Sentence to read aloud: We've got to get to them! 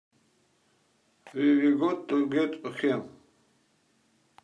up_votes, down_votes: 2, 1